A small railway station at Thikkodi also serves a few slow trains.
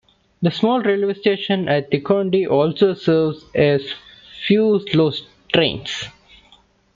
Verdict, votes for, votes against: rejected, 1, 2